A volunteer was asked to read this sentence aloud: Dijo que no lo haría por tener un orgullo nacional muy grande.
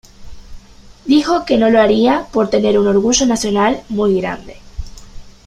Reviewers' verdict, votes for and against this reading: accepted, 2, 0